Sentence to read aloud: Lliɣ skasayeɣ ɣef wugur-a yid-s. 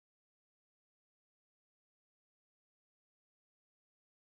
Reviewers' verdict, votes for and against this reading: rejected, 0, 2